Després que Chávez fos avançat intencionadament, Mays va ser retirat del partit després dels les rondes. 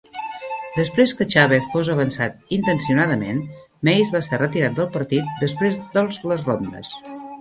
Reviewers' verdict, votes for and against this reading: accepted, 2, 0